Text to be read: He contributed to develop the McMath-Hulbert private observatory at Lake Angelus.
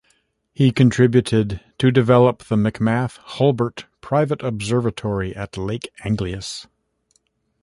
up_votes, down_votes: 2, 0